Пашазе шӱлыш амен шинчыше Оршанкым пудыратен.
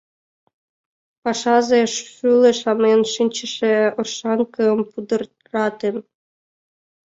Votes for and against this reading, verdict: 1, 2, rejected